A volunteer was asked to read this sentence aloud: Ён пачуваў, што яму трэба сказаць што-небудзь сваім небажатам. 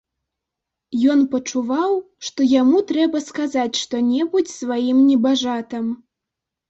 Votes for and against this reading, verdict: 2, 0, accepted